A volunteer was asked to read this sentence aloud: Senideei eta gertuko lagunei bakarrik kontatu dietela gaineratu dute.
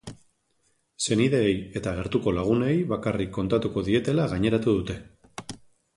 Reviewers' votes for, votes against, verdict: 1, 3, rejected